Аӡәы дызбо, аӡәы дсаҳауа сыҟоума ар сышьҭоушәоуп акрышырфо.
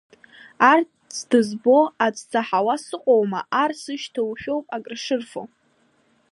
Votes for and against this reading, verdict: 0, 2, rejected